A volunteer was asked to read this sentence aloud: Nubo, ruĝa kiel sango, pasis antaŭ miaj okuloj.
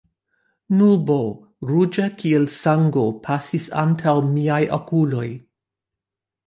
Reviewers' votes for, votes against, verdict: 2, 1, accepted